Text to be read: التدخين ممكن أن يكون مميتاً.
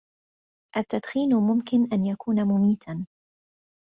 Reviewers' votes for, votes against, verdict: 2, 1, accepted